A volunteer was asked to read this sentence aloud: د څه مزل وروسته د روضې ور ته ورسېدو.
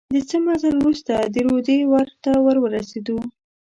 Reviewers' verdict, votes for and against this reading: rejected, 1, 2